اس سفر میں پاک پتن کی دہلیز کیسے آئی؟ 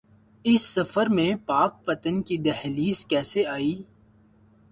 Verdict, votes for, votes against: accepted, 2, 0